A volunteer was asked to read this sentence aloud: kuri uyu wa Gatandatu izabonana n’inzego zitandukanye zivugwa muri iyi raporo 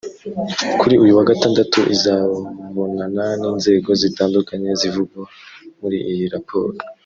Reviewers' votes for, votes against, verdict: 0, 2, rejected